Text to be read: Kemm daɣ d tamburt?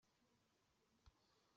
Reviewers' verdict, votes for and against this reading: rejected, 1, 2